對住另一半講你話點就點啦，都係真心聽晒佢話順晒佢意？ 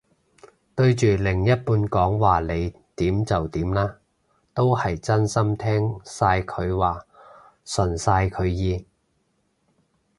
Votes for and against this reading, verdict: 1, 3, rejected